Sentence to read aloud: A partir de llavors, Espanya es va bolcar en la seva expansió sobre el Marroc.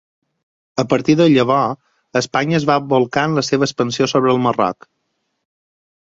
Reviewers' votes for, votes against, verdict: 0, 4, rejected